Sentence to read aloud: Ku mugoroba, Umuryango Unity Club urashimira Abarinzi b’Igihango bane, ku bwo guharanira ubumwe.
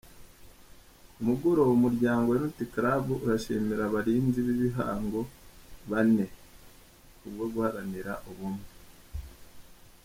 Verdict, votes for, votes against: accepted, 2, 1